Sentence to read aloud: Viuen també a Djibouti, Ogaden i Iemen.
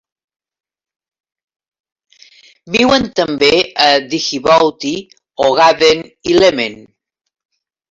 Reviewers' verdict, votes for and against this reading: rejected, 1, 2